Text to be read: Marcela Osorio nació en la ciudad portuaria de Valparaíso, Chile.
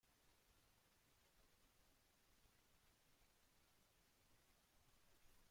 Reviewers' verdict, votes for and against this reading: rejected, 0, 2